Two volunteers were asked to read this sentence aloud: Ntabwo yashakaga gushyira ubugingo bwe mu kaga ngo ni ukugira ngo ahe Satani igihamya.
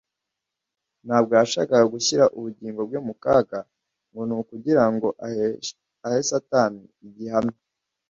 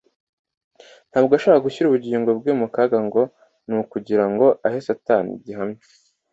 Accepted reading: second